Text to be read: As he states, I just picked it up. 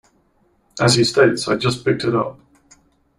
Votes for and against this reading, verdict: 2, 1, accepted